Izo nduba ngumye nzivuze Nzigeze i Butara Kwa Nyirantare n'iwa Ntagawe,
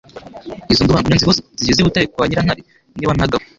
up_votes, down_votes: 1, 2